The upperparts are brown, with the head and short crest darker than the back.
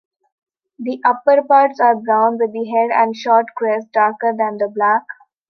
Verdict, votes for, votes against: accepted, 2, 0